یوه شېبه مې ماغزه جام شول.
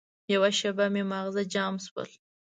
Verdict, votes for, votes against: accepted, 2, 0